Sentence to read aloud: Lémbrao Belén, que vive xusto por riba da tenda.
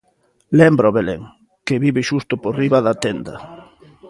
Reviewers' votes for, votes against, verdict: 2, 0, accepted